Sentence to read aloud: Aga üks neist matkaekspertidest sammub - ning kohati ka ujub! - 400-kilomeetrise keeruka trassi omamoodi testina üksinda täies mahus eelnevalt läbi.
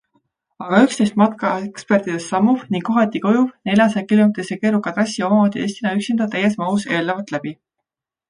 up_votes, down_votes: 0, 2